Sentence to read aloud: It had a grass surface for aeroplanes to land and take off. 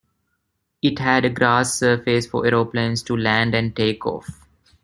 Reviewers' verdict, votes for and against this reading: accepted, 2, 0